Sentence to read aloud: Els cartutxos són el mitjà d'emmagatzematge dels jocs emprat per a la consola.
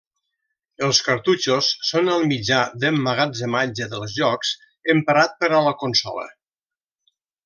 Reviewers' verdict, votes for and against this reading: accepted, 2, 0